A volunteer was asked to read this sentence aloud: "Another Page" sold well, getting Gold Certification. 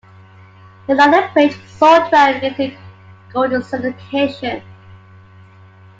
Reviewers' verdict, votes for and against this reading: rejected, 1, 2